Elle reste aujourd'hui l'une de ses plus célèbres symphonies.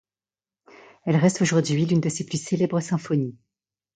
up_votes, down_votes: 2, 0